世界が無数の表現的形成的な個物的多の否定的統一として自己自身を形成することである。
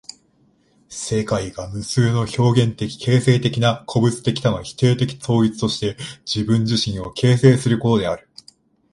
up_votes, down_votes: 1, 2